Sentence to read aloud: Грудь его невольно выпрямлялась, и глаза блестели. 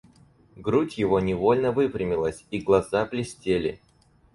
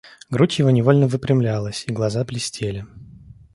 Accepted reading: second